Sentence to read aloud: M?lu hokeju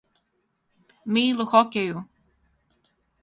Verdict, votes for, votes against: rejected, 0, 4